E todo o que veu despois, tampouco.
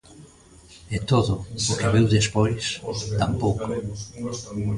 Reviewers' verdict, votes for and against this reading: rejected, 0, 2